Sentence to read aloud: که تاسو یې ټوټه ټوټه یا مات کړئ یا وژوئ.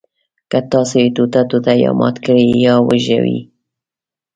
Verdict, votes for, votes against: rejected, 0, 2